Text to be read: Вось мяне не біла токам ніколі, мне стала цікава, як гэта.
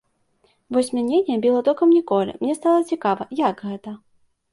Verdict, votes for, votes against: accepted, 2, 0